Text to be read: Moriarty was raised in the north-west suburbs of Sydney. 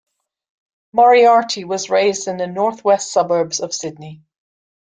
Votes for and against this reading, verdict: 2, 0, accepted